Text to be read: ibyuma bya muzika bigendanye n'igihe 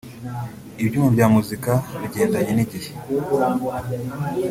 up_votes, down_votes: 1, 2